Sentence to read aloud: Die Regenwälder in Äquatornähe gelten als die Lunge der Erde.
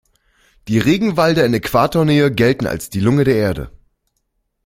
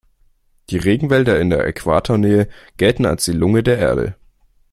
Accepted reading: second